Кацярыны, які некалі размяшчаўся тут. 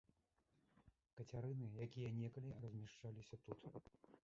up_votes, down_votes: 0, 2